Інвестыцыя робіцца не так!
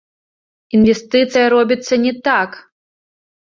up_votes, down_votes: 1, 2